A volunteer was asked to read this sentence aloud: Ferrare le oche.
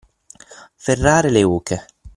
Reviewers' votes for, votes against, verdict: 6, 0, accepted